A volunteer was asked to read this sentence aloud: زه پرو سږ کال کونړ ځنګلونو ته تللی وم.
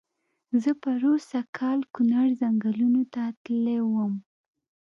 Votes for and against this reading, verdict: 2, 1, accepted